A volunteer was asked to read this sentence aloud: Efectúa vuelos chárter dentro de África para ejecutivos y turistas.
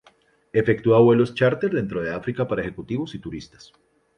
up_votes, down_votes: 2, 0